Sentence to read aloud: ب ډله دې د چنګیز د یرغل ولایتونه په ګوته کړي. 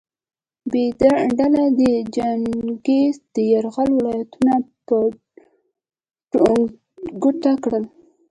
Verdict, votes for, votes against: accepted, 2, 1